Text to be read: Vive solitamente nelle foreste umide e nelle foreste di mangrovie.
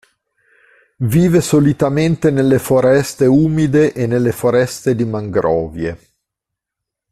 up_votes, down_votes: 2, 0